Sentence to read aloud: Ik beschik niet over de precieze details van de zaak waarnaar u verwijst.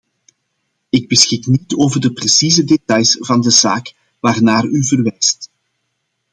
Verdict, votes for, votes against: accepted, 2, 0